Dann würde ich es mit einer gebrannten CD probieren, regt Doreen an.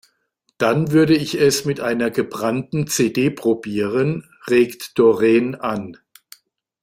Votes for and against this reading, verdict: 3, 0, accepted